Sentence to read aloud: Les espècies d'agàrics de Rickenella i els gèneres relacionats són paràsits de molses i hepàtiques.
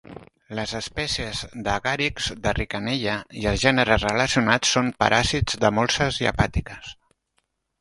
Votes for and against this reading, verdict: 2, 0, accepted